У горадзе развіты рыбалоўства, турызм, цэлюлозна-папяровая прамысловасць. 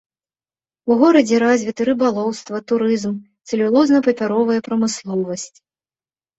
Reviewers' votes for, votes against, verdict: 2, 0, accepted